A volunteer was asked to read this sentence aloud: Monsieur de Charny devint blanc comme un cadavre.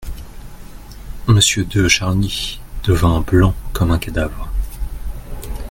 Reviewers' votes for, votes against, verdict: 2, 0, accepted